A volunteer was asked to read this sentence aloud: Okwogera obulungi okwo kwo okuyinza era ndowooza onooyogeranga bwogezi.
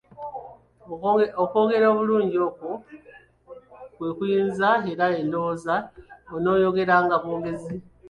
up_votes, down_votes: 1, 2